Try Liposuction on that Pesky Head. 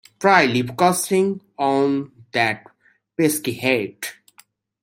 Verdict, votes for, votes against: rejected, 0, 2